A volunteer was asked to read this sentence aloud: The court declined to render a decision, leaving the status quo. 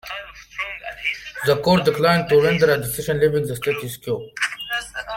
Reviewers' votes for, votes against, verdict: 1, 2, rejected